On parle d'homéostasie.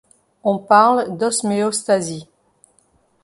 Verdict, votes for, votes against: rejected, 0, 2